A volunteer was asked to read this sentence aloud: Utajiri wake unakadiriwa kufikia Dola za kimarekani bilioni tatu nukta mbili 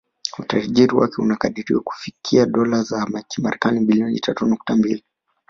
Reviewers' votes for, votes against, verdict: 0, 2, rejected